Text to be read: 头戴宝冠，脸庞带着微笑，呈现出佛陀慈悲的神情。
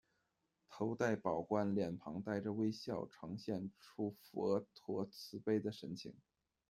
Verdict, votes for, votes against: accepted, 2, 0